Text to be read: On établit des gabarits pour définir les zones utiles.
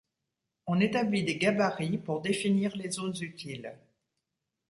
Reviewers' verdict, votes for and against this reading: accepted, 2, 0